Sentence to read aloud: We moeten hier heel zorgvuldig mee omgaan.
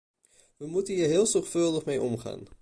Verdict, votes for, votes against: accepted, 2, 0